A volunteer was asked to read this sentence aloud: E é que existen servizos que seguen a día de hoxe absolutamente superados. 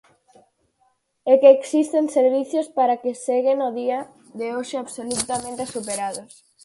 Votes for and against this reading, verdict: 0, 4, rejected